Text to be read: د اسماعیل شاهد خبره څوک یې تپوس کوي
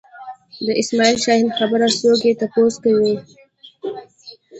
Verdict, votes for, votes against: rejected, 0, 2